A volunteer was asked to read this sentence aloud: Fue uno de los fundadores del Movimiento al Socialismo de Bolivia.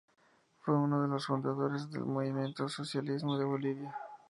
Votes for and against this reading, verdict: 2, 0, accepted